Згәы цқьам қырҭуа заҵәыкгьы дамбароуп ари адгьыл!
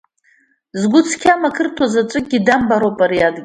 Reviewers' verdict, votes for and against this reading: rejected, 1, 2